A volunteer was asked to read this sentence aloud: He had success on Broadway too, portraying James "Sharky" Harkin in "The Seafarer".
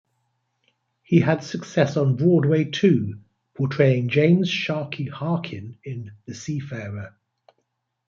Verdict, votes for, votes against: accepted, 2, 0